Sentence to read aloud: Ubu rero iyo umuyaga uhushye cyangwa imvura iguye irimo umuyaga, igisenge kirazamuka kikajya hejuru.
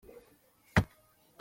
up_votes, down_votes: 0, 2